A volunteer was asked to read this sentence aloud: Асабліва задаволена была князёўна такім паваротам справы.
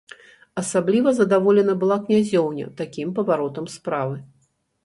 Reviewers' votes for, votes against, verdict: 0, 3, rejected